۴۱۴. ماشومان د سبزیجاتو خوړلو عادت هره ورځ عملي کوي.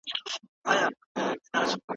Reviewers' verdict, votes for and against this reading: rejected, 0, 2